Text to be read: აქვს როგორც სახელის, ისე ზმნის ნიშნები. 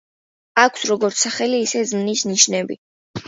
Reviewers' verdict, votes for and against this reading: rejected, 1, 2